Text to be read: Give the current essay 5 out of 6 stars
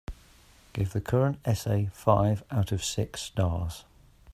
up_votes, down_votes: 0, 2